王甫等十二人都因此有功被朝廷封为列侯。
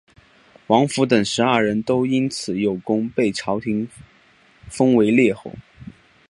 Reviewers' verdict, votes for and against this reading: accepted, 3, 1